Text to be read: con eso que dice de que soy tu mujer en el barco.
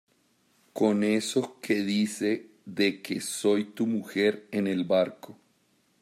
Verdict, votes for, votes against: accepted, 2, 1